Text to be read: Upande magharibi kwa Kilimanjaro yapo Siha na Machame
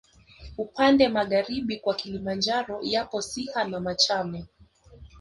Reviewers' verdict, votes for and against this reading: rejected, 0, 2